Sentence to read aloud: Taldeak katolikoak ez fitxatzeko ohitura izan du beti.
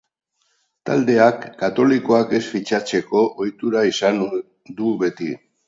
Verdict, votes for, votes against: rejected, 2, 2